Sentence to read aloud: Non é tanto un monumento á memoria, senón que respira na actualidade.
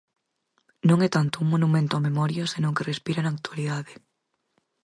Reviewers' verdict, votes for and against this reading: accepted, 4, 0